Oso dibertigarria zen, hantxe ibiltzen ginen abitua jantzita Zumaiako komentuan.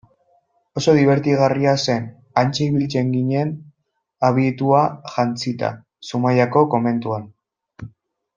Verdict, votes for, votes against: accepted, 2, 1